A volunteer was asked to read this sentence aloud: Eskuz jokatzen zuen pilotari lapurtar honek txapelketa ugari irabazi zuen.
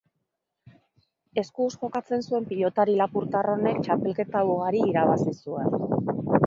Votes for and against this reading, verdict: 3, 1, accepted